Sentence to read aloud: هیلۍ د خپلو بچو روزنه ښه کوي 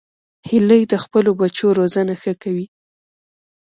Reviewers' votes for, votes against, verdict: 0, 2, rejected